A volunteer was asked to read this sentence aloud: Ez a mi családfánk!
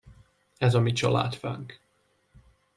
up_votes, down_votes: 2, 0